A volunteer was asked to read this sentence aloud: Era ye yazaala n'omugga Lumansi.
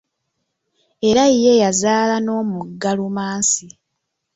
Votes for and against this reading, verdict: 1, 2, rejected